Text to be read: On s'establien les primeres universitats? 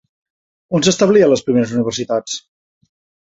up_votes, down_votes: 3, 0